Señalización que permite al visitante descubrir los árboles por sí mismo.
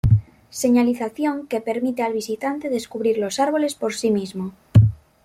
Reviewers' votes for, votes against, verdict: 2, 0, accepted